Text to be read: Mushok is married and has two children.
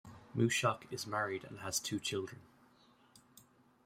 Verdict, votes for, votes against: accepted, 2, 1